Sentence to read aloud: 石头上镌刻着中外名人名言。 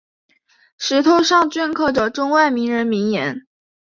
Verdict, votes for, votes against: accepted, 2, 0